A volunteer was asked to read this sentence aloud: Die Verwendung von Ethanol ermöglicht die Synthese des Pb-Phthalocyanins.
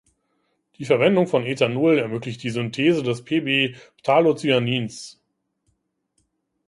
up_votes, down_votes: 2, 0